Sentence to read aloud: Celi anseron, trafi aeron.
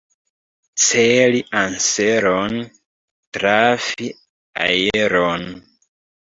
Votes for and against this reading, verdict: 0, 3, rejected